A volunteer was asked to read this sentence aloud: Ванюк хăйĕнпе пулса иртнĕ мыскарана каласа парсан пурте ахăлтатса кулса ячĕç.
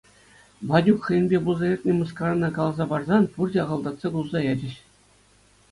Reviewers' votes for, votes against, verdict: 2, 0, accepted